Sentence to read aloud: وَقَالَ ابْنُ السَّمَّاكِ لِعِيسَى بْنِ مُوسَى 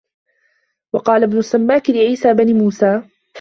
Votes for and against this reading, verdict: 2, 0, accepted